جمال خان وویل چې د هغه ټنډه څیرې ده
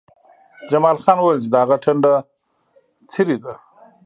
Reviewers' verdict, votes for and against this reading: accepted, 2, 0